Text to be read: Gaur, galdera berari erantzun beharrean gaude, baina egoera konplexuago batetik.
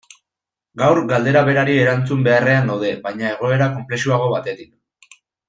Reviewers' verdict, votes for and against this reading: rejected, 1, 2